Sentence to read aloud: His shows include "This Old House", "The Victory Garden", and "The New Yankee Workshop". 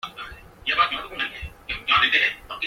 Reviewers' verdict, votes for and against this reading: rejected, 0, 2